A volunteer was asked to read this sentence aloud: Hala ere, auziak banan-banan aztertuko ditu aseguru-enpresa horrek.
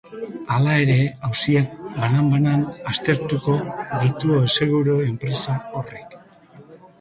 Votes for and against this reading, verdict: 2, 1, accepted